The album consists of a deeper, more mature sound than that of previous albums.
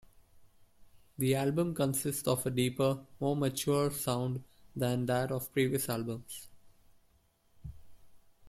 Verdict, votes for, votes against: accepted, 2, 0